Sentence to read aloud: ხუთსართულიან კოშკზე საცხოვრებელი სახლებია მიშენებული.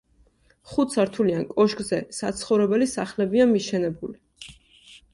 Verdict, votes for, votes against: accepted, 2, 0